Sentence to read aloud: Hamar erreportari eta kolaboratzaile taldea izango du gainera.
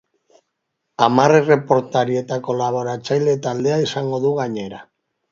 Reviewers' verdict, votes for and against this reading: accepted, 2, 0